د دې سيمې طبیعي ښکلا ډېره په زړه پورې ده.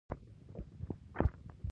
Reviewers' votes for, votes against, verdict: 0, 2, rejected